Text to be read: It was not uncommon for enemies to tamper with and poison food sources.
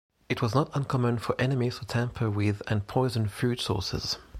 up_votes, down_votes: 3, 0